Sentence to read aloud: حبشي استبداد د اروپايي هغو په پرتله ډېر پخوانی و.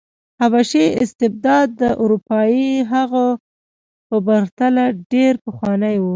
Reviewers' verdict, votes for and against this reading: rejected, 1, 2